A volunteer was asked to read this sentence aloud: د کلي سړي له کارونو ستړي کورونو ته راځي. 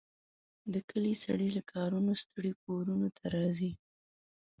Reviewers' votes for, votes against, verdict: 0, 2, rejected